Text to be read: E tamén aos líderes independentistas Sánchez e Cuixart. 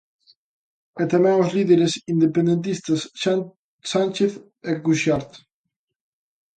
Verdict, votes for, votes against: rejected, 0, 3